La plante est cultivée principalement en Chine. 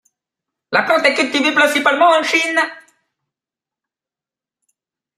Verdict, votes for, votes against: accepted, 2, 1